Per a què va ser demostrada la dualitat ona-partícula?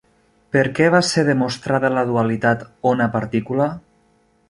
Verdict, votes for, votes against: rejected, 0, 2